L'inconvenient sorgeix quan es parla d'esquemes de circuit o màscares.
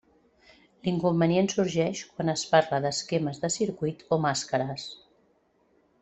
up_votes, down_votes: 3, 0